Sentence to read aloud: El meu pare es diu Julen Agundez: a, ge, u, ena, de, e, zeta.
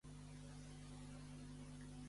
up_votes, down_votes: 0, 2